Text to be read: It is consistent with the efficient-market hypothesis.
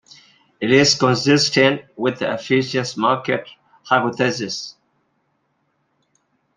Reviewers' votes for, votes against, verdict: 0, 2, rejected